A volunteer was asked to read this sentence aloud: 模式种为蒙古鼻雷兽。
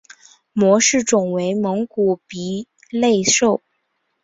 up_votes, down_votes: 0, 2